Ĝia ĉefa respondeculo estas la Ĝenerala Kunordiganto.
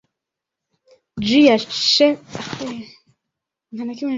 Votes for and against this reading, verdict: 1, 2, rejected